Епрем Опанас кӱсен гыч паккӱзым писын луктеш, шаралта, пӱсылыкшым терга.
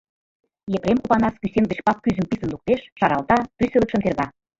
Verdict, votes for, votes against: rejected, 1, 2